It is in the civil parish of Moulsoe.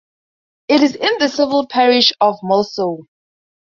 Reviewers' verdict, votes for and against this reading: rejected, 0, 2